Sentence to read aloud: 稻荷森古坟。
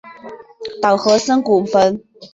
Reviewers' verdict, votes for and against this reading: accepted, 3, 0